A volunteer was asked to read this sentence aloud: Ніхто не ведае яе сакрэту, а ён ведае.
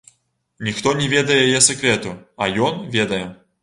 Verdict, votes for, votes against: accepted, 2, 0